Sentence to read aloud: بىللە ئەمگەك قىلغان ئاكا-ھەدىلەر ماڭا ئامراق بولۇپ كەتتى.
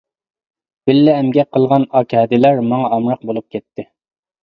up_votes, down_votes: 2, 0